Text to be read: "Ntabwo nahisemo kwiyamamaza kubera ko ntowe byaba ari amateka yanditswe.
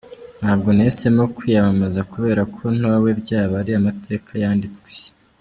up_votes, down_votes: 1, 2